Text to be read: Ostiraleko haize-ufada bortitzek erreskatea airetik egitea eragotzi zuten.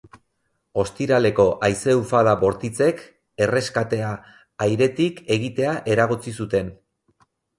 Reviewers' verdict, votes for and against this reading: accepted, 6, 0